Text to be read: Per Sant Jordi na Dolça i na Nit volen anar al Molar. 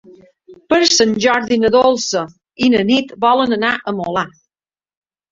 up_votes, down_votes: 0, 2